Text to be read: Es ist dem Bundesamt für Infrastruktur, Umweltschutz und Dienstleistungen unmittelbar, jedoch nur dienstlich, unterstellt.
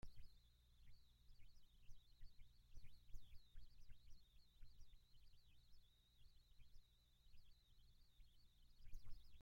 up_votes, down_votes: 0, 2